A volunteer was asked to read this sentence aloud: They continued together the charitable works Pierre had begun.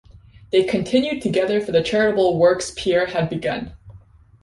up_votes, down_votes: 0, 2